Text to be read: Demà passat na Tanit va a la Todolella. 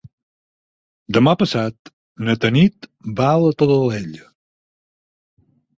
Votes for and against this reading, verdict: 2, 4, rejected